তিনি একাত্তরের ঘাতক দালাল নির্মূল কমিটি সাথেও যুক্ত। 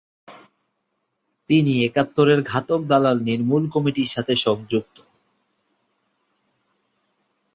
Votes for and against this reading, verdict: 0, 2, rejected